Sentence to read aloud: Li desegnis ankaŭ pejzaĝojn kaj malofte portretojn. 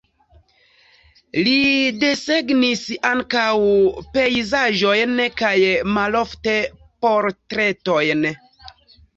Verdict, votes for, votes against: accepted, 2, 0